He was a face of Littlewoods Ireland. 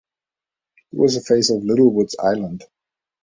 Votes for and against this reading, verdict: 1, 2, rejected